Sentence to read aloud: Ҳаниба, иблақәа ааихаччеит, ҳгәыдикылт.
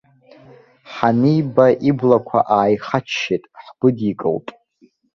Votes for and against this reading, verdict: 2, 0, accepted